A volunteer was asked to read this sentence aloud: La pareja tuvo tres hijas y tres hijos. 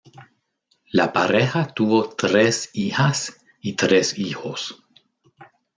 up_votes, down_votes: 0, 2